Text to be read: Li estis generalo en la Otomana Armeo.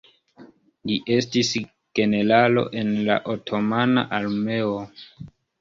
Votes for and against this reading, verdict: 2, 1, accepted